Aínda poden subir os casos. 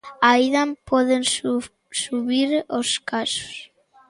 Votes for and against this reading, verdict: 0, 2, rejected